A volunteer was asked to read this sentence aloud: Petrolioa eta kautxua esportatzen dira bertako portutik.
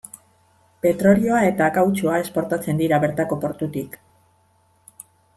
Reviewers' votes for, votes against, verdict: 2, 0, accepted